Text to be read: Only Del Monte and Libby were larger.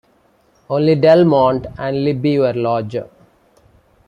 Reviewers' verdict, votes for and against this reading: accepted, 2, 1